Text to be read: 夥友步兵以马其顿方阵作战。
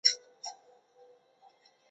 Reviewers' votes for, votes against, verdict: 0, 2, rejected